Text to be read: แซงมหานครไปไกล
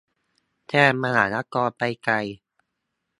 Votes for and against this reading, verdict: 0, 2, rejected